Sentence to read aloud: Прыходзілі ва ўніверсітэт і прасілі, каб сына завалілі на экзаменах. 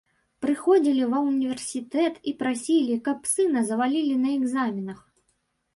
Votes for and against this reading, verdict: 2, 0, accepted